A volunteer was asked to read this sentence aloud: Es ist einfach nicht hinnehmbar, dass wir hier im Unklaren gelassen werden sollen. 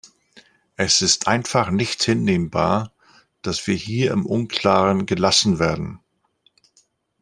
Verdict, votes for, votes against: rejected, 0, 2